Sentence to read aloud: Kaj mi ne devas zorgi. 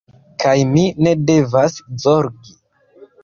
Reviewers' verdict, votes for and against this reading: accepted, 2, 1